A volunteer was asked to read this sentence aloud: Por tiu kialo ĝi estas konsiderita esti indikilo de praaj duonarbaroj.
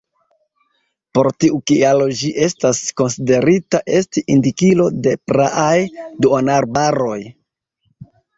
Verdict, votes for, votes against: accepted, 2, 0